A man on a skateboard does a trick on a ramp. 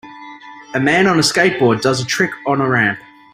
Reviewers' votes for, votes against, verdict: 2, 0, accepted